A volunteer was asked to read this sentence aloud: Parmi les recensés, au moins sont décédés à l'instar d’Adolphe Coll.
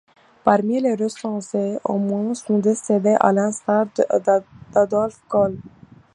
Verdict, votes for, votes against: rejected, 0, 2